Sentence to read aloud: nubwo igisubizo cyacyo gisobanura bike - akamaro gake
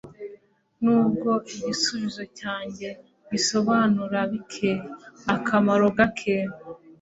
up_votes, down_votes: 2, 1